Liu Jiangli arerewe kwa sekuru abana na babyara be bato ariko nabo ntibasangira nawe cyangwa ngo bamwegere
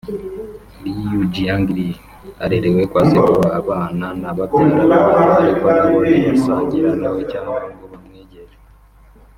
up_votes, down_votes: 0, 2